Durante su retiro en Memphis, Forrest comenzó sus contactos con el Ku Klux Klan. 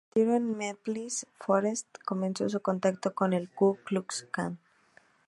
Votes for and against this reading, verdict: 2, 0, accepted